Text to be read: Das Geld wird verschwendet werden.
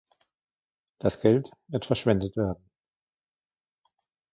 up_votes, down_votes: 2, 0